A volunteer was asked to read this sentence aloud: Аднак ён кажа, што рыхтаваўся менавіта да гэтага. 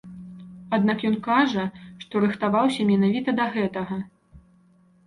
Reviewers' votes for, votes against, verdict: 2, 0, accepted